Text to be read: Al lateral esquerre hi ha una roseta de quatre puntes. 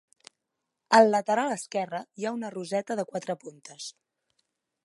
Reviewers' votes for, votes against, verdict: 2, 1, accepted